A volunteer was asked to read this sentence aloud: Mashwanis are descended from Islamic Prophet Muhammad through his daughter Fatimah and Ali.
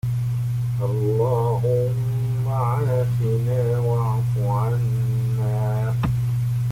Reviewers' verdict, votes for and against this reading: rejected, 0, 2